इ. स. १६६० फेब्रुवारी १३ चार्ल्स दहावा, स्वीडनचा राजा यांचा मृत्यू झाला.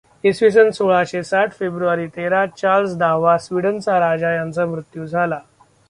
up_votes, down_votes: 0, 2